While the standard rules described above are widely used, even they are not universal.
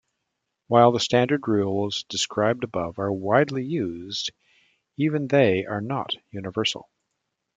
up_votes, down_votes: 2, 0